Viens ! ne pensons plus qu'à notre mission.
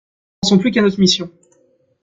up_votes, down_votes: 0, 2